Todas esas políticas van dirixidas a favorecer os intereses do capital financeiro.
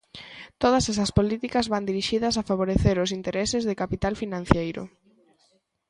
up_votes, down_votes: 0, 2